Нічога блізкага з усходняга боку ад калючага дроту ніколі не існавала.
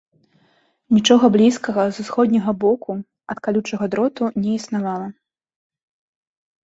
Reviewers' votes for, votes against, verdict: 1, 2, rejected